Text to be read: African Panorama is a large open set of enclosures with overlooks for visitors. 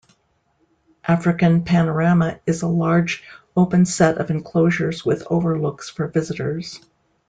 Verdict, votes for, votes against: accepted, 2, 0